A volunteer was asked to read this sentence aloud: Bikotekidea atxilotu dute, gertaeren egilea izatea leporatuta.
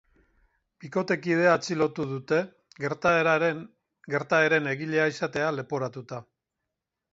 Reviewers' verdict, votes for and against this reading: rejected, 0, 4